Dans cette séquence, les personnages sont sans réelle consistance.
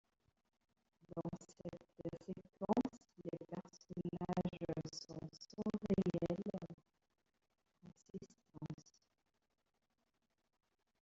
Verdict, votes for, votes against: rejected, 1, 2